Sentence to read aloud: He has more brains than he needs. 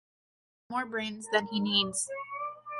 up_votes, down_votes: 0, 2